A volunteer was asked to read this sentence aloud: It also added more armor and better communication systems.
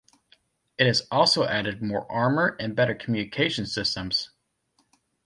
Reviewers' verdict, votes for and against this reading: rejected, 1, 2